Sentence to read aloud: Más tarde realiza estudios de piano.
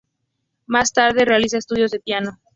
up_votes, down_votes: 4, 0